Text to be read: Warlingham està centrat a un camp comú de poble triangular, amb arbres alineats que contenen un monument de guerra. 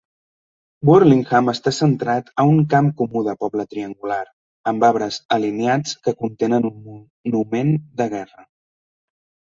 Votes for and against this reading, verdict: 1, 2, rejected